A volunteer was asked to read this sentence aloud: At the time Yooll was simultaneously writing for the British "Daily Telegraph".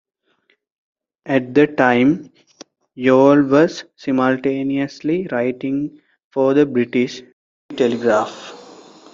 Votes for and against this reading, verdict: 0, 2, rejected